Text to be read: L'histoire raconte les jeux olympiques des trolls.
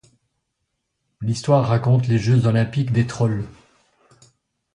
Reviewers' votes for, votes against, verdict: 2, 0, accepted